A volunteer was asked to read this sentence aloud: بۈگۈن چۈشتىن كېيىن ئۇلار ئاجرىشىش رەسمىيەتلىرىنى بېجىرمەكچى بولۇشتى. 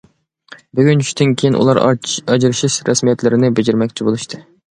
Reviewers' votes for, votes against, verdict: 0, 2, rejected